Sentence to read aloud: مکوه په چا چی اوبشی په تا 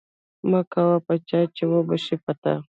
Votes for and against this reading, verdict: 2, 0, accepted